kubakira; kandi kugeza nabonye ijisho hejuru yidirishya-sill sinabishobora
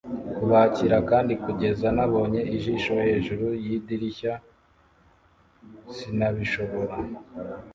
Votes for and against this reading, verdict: 2, 0, accepted